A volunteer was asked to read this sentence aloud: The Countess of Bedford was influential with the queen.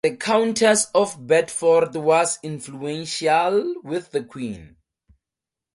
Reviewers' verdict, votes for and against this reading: accepted, 4, 0